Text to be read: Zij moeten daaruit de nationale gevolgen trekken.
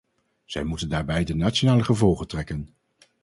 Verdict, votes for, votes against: rejected, 0, 2